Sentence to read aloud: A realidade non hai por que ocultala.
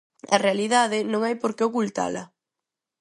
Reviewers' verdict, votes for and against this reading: accepted, 6, 0